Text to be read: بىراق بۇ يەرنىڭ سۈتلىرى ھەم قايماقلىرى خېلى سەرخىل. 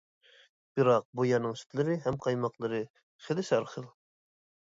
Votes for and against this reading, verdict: 2, 0, accepted